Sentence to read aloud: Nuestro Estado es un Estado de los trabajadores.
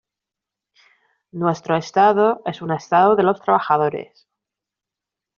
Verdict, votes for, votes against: accepted, 2, 0